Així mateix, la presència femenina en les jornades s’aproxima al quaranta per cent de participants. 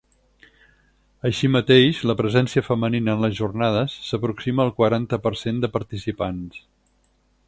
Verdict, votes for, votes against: accepted, 4, 0